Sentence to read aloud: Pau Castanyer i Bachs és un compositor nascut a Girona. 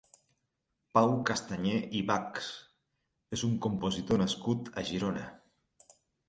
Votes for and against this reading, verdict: 4, 0, accepted